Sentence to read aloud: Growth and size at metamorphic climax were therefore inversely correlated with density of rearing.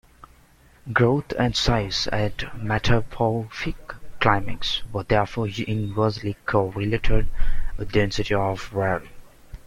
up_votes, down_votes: 1, 3